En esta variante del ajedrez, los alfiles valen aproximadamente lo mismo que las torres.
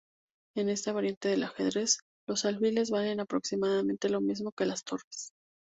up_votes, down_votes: 0, 2